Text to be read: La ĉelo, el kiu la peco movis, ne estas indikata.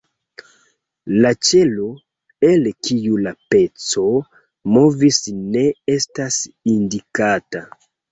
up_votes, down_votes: 2, 1